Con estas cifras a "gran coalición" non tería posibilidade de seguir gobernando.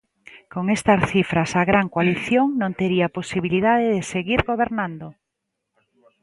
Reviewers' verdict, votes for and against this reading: accepted, 2, 0